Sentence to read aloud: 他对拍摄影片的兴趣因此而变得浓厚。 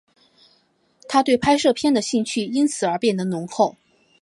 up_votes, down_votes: 2, 0